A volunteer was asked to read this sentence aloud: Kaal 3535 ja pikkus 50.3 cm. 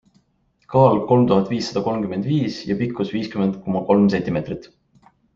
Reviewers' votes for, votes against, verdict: 0, 2, rejected